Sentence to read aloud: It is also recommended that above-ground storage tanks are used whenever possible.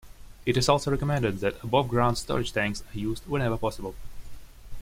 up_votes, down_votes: 2, 0